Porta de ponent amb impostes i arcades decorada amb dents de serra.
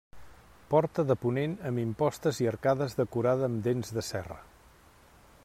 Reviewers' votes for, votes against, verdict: 3, 0, accepted